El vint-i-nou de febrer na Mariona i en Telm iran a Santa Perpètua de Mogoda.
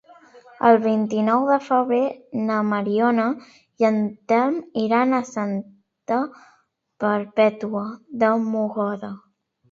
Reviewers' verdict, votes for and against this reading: rejected, 1, 2